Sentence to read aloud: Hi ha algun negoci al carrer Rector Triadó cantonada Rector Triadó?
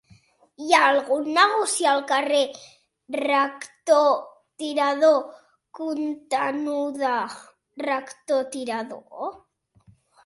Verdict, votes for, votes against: rejected, 0, 2